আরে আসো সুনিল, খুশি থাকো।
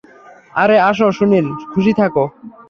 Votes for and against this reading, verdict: 3, 0, accepted